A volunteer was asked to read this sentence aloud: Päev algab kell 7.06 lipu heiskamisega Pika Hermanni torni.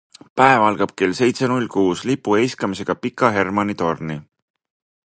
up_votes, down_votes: 0, 2